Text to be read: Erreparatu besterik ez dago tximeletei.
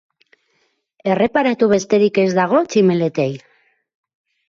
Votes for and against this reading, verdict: 4, 0, accepted